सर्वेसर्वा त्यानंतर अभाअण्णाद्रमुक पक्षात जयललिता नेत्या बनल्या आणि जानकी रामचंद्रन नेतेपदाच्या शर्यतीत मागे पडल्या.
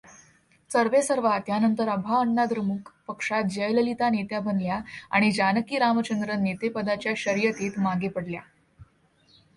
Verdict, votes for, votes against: accepted, 2, 0